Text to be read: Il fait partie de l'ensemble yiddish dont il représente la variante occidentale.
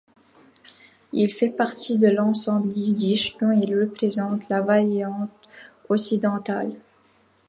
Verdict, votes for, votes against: rejected, 1, 2